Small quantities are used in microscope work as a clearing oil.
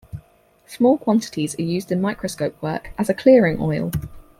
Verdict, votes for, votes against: accepted, 4, 0